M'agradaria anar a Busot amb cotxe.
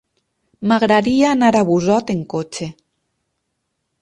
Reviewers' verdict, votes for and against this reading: rejected, 2, 4